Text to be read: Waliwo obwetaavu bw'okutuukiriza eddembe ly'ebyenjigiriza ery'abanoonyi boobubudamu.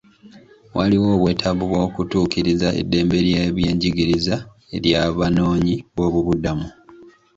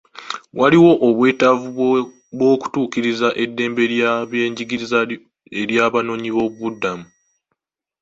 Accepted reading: first